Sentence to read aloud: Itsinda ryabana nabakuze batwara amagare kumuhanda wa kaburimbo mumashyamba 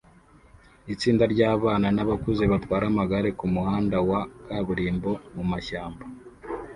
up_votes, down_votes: 0, 2